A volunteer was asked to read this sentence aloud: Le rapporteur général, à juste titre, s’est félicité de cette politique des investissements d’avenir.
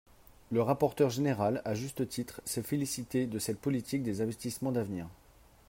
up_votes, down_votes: 2, 0